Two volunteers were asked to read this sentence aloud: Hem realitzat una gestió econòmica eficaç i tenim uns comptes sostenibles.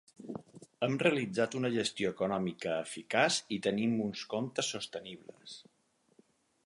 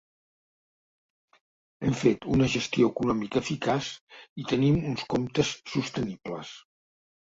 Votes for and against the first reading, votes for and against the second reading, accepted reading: 6, 0, 0, 2, first